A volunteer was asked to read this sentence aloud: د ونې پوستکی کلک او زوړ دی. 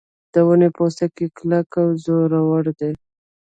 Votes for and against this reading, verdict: 0, 2, rejected